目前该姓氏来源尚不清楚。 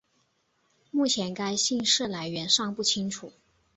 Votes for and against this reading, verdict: 8, 1, accepted